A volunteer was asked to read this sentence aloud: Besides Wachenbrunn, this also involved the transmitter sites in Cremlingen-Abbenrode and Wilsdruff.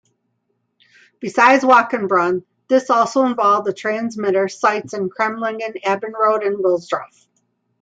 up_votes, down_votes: 2, 0